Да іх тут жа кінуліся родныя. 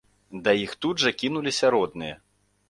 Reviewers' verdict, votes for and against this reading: accepted, 2, 0